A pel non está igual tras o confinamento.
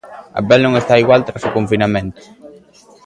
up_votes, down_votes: 0, 2